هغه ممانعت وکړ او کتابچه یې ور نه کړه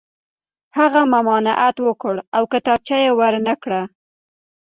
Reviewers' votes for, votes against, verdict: 2, 1, accepted